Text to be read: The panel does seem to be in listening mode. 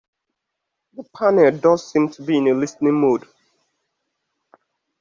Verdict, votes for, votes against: accepted, 2, 1